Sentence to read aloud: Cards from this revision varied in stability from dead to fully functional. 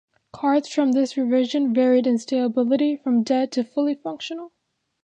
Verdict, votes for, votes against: accepted, 2, 0